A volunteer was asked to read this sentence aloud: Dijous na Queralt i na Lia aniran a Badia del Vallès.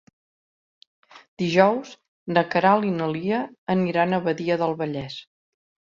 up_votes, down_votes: 3, 0